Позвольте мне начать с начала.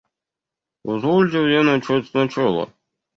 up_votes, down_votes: 0, 2